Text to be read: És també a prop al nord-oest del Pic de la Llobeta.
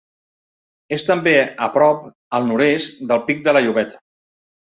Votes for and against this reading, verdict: 1, 2, rejected